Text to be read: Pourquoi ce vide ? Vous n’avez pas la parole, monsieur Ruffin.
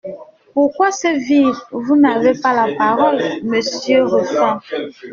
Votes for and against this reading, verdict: 1, 2, rejected